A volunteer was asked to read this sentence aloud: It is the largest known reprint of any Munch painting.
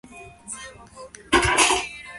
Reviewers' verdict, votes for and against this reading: rejected, 0, 2